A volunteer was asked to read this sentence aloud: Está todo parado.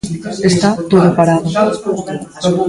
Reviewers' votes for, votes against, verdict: 1, 2, rejected